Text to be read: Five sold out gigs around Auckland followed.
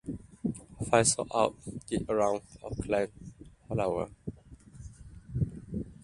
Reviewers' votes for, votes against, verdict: 1, 2, rejected